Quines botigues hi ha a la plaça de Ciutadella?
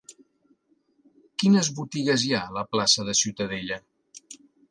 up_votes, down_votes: 3, 0